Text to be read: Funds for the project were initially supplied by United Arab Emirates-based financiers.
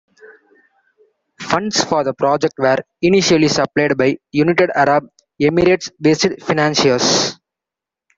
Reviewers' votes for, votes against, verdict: 1, 2, rejected